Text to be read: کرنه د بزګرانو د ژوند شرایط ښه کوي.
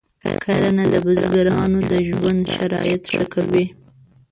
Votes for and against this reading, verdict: 1, 2, rejected